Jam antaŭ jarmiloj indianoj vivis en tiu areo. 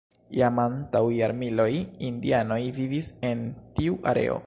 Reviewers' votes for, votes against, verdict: 2, 0, accepted